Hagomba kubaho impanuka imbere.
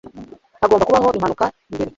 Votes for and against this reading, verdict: 0, 2, rejected